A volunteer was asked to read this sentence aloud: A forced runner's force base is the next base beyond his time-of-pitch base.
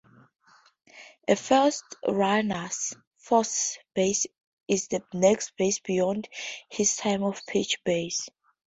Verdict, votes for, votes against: accepted, 2, 0